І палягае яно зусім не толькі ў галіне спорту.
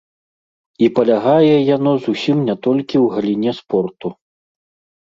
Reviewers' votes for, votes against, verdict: 2, 0, accepted